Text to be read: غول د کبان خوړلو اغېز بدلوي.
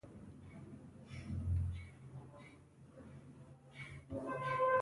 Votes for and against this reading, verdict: 1, 2, rejected